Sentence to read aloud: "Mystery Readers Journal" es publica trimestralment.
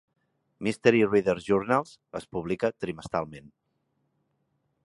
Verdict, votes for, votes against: rejected, 0, 2